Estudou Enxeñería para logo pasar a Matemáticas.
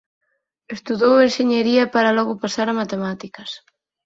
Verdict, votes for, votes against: rejected, 2, 4